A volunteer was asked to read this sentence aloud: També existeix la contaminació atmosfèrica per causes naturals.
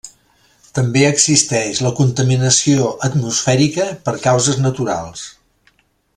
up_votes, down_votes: 3, 0